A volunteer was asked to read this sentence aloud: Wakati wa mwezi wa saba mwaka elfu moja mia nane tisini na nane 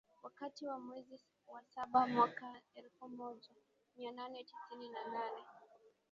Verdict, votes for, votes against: rejected, 0, 2